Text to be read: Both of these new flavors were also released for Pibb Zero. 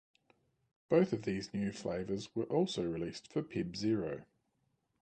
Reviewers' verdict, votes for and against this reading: accepted, 2, 0